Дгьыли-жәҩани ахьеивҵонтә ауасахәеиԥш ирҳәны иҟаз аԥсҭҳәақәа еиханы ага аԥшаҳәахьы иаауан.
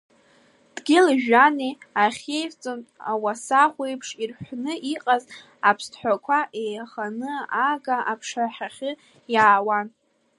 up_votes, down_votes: 1, 2